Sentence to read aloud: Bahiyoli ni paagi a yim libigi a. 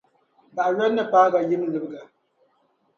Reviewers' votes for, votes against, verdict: 0, 2, rejected